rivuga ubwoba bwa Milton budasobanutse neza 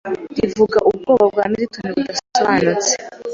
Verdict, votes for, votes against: rejected, 0, 2